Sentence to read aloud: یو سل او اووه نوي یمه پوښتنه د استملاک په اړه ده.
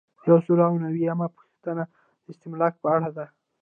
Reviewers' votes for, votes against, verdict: 2, 1, accepted